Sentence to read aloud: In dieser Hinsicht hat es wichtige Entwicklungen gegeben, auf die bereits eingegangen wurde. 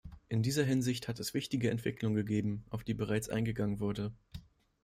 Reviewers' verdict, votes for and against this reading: accepted, 2, 0